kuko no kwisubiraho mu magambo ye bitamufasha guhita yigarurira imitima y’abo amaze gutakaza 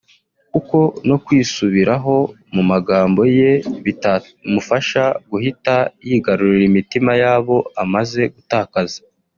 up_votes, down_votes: 2, 0